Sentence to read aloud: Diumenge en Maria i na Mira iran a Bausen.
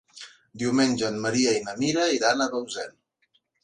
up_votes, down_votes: 2, 0